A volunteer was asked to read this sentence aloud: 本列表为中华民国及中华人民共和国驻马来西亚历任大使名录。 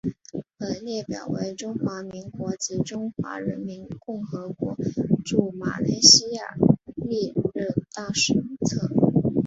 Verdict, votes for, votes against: accepted, 2, 0